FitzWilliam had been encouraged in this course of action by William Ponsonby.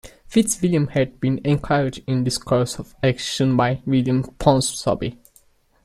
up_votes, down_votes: 2, 1